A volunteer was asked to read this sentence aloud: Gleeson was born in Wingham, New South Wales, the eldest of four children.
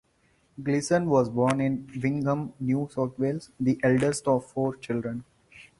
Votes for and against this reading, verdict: 4, 0, accepted